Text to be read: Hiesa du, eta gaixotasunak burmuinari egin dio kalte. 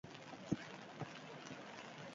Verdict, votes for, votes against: rejected, 0, 2